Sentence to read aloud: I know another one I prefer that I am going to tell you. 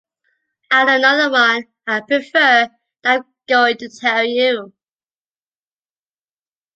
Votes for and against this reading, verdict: 2, 1, accepted